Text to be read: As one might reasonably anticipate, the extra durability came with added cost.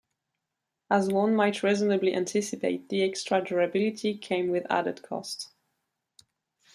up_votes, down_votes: 1, 2